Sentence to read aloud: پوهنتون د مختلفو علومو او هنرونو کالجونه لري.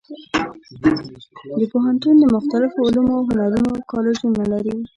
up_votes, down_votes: 1, 2